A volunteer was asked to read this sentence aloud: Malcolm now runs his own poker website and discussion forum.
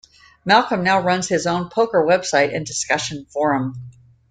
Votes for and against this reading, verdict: 2, 0, accepted